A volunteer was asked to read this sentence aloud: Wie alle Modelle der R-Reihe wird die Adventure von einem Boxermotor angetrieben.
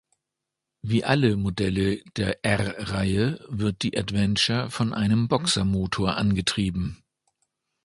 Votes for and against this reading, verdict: 2, 0, accepted